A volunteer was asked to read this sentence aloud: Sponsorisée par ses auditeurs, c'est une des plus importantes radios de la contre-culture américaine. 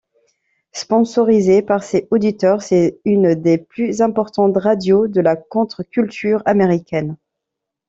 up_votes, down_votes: 2, 0